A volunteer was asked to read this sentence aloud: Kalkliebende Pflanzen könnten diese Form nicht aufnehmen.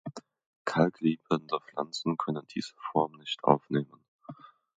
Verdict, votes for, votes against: rejected, 1, 2